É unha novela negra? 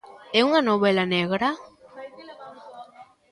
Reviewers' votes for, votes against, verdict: 2, 1, accepted